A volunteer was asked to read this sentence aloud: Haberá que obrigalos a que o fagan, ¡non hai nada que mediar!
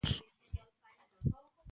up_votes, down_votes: 0, 2